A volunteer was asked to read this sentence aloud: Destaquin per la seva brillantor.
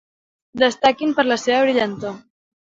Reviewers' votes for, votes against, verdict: 2, 0, accepted